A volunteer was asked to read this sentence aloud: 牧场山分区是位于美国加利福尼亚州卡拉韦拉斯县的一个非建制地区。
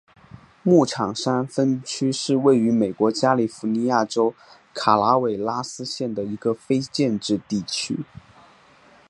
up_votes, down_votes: 4, 0